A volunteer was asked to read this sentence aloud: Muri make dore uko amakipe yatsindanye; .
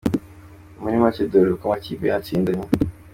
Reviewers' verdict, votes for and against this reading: accepted, 2, 0